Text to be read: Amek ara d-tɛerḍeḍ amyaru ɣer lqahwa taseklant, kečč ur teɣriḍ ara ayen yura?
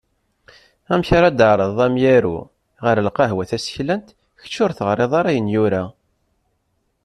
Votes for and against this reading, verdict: 2, 0, accepted